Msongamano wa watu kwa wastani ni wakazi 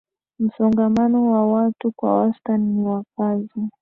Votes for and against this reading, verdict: 2, 0, accepted